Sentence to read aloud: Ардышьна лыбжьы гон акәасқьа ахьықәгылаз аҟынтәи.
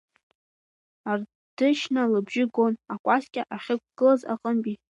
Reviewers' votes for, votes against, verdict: 2, 3, rejected